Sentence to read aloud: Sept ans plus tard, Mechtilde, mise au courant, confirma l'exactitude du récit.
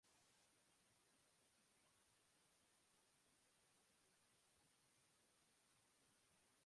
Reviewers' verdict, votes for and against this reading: rejected, 0, 2